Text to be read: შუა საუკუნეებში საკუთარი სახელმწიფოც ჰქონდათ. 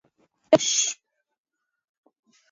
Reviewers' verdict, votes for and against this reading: rejected, 0, 2